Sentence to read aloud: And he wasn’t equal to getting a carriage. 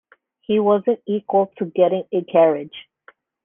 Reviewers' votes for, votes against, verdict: 0, 2, rejected